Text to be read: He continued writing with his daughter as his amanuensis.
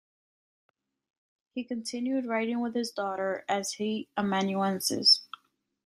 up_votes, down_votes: 0, 2